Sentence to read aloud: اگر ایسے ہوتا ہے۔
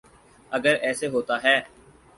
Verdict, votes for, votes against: accepted, 4, 0